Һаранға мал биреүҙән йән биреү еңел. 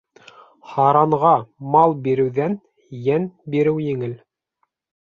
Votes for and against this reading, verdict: 3, 0, accepted